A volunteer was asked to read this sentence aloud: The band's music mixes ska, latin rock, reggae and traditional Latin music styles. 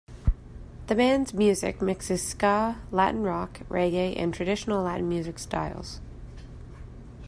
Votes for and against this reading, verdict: 2, 0, accepted